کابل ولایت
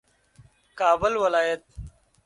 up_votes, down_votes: 2, 0